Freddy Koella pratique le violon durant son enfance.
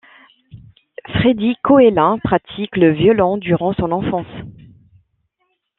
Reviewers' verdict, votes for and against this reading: accepted, 2, 0